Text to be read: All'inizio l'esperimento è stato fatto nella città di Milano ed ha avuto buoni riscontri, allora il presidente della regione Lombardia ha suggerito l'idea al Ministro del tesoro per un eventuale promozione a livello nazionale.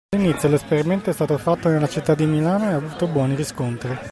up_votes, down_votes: 0, 2